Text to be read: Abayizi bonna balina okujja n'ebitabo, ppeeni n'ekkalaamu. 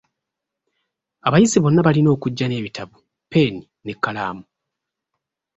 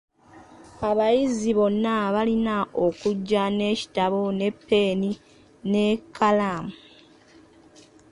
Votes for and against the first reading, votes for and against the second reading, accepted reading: 2, 0, 1, 2, first